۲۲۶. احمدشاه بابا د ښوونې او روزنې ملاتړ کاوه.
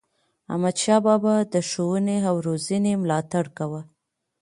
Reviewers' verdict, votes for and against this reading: rejected, 0, 2